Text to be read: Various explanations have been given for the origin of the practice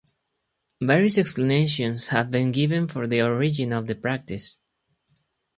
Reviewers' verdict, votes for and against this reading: accepted, 2, 0